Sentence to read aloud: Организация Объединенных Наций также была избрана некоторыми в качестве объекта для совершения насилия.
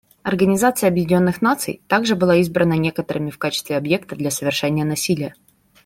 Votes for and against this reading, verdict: 2, 0, accepted